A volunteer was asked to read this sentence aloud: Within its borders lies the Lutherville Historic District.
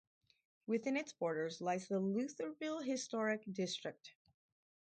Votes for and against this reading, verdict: 4, 0, accepted